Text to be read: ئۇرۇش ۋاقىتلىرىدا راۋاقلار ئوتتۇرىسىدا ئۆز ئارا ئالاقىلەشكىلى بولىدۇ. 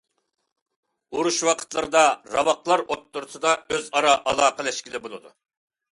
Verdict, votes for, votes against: accepted, 2, 0